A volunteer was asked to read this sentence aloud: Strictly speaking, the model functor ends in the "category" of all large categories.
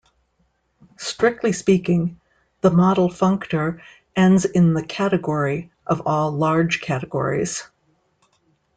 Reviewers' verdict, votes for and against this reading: accepted, 2, 0